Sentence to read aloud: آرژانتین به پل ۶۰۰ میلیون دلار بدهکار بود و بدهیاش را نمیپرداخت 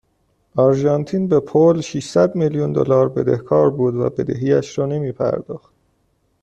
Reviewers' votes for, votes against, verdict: 0, 2, rejected